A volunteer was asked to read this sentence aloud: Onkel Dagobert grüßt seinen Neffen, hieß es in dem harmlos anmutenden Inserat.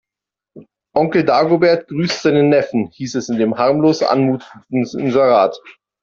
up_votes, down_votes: 0, 2